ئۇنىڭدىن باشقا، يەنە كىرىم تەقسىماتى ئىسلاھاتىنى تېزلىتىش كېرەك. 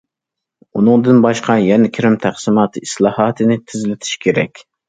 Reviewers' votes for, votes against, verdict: 2, 0, accepted